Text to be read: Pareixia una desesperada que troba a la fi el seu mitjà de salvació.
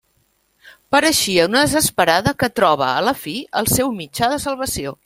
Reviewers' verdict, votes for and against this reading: rejected, 1, 2